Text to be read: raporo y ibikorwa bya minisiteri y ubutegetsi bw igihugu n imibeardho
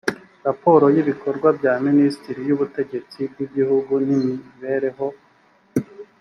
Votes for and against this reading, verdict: 1, 2, rejected